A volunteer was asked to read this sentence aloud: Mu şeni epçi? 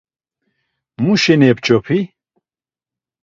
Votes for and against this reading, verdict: 0, 2, rejected